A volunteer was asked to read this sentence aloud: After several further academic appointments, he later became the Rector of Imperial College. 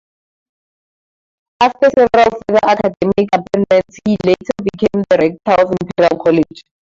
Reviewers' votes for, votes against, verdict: 2, 0, accepted